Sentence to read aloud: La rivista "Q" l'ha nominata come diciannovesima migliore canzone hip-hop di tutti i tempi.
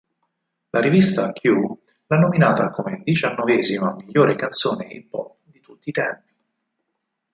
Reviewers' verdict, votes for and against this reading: accepted, 4, 0